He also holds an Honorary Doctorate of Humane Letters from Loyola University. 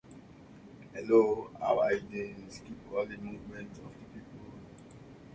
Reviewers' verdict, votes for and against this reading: rejected, 0, 2